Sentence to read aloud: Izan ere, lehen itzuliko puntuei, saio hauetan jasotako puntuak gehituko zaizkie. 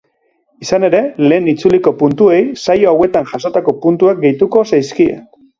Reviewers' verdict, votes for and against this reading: accepted, 2, 0